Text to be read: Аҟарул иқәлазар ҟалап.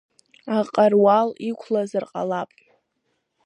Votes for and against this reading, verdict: 0, 2, rejected